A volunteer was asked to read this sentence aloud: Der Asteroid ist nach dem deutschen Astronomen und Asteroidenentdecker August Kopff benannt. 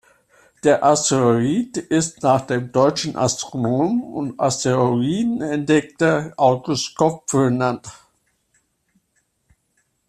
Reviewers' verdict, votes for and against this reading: rejected, 0, 2